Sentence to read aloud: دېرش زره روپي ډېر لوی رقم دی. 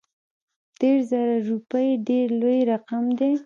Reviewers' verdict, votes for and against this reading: rejected, 1, 2